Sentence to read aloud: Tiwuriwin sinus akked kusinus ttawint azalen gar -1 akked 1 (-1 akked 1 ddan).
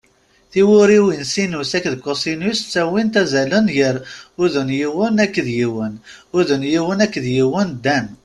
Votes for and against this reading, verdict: 0, 2, rejected